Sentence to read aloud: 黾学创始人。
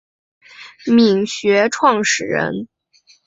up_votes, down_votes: 5, 0